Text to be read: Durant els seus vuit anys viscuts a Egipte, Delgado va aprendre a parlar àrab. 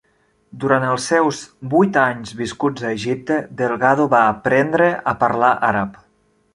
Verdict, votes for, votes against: accepted, 2, 0